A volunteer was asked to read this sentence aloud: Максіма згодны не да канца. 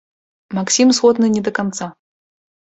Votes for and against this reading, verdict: 1, 2, rejected